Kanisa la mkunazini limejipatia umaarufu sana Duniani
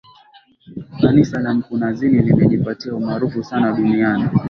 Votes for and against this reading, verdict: 1, 2, rejected